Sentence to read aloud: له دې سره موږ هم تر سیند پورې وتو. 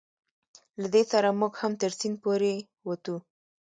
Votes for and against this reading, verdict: 2, 0, accepted